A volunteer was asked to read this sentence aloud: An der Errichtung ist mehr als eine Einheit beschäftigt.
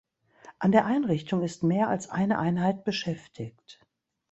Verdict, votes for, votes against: rejected, 0, 2